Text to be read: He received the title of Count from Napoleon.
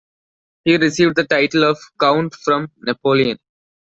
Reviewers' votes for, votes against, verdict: 2, 0, accepted